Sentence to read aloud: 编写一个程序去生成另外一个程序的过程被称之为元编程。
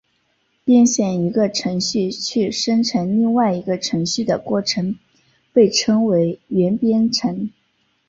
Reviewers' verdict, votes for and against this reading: accepted, 5, 0